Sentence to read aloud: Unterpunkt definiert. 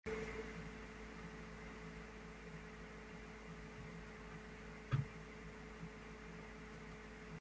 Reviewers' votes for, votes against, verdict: 0, 2, rejected